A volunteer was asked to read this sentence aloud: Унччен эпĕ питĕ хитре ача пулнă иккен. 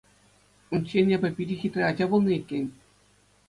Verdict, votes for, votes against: accepted, 2, 0